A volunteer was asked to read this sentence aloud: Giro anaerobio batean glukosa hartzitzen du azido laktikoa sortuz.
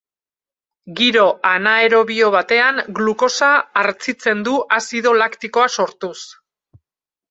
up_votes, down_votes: 4, 2